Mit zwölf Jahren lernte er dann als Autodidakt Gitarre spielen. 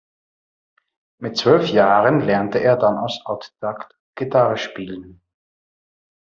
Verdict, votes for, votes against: rejected, 0, 2